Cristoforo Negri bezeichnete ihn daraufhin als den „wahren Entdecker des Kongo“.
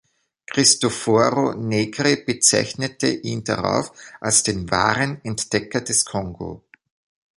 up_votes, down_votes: 0, 2